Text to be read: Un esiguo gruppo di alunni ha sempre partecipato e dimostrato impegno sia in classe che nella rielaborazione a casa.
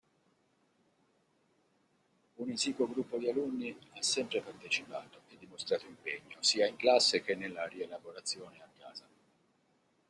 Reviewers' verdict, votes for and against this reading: rejected, 0, 2